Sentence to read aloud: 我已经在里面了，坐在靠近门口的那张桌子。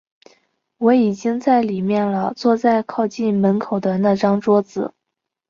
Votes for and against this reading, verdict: 2, 0, accepted